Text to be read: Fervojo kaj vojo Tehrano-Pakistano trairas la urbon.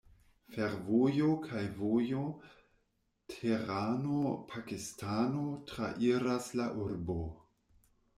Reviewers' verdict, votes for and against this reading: rejected, 1, 2